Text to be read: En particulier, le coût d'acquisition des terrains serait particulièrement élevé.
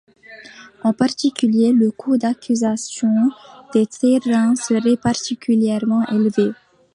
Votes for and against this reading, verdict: 0, 2, rejected